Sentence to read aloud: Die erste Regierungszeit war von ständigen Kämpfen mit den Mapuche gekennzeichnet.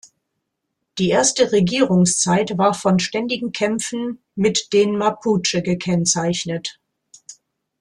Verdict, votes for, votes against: accepted, 2, 0